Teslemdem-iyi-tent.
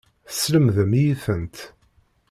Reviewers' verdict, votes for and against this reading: accepted, 2, 0